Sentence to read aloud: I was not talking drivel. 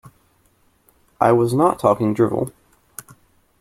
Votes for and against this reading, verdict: 2, 1, accepted